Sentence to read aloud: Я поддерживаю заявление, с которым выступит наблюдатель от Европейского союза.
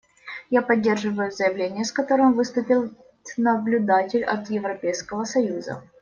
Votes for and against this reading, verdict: 0, 2, rejected